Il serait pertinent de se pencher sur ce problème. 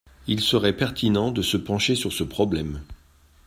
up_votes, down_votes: 2, 0